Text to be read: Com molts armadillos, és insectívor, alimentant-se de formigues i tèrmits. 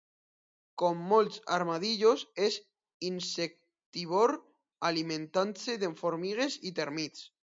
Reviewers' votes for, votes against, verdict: 0, 2, rejected